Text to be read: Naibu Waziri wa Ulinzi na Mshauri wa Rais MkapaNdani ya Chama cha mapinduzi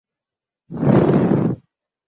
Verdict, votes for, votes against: rejected, 0, 2